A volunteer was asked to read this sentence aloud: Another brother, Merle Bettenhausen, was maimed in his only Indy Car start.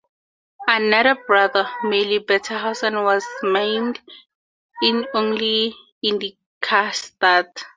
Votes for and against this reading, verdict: 2, 0, accepted